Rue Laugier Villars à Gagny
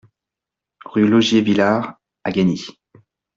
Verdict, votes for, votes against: accepted, 2, 0